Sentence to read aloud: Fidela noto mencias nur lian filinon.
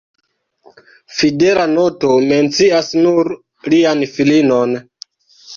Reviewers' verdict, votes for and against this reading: rejected, 0, 2